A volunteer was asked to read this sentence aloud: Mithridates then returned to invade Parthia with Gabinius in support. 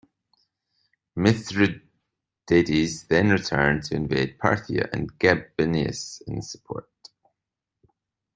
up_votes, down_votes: 1, 2